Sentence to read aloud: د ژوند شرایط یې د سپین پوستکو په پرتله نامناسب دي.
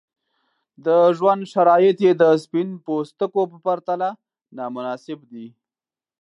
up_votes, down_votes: 2, 0